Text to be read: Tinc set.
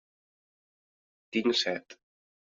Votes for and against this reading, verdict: 1, 2, rejected